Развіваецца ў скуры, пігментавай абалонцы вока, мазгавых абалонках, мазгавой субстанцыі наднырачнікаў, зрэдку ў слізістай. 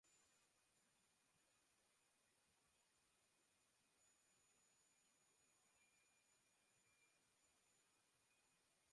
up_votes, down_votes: 0, 3